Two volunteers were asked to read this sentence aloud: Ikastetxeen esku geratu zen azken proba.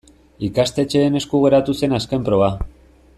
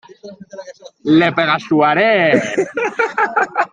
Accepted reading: first